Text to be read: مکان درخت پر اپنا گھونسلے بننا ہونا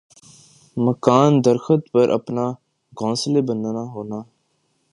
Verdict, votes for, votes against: accepted, 5, 1